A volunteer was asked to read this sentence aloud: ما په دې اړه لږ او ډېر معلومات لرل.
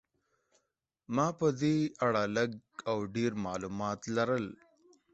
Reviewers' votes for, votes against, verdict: 14, 0, accepted